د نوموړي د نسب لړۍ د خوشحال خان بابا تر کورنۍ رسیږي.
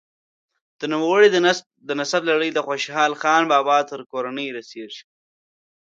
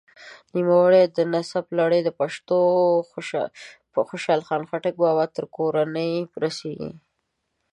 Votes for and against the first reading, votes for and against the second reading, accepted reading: 3, 0, 0, 2, first